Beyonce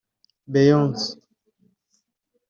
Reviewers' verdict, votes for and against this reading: rejected, 1, 2